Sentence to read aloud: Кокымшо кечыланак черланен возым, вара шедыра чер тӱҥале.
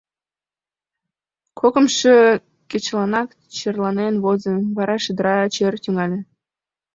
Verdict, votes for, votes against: accepted, 2, 1